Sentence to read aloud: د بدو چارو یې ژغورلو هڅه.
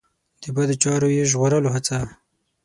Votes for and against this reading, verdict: 6, 0, accepted